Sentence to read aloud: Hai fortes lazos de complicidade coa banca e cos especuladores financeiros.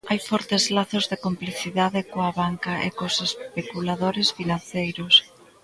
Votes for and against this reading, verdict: 1, 2, rejected